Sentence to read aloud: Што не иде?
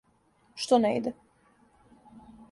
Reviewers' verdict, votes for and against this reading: accepted, 2, 0